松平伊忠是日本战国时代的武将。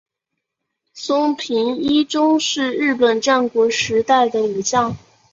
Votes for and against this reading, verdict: 3, 0, accepted